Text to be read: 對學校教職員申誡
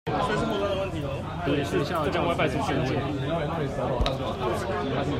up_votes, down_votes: 0, 2